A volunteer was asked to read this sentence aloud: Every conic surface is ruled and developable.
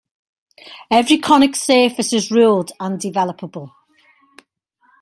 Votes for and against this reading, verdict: 2, 0, accepted